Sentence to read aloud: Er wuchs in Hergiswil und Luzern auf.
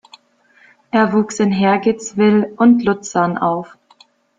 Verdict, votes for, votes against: rejected, 1, 2